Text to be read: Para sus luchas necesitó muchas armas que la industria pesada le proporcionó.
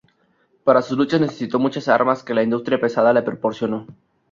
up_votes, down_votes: 0, 2